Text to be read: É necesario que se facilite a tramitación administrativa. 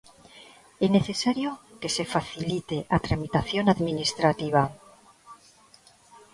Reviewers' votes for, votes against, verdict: 1, 2, rejected